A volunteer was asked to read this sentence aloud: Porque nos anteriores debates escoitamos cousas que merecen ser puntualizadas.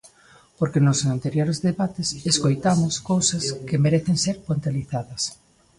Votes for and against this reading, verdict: 2, 1, accepted